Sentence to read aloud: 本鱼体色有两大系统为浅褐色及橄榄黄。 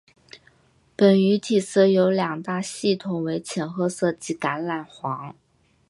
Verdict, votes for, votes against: accepted, 3, 0